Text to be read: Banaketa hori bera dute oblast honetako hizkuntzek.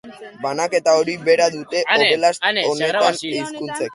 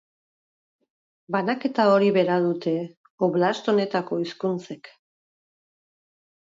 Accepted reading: second